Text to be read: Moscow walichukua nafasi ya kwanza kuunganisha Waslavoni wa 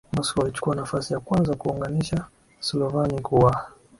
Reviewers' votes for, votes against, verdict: 6, 7, rejected